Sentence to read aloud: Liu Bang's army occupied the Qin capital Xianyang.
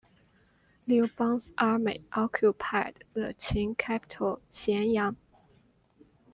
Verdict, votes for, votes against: accepted, 2, 0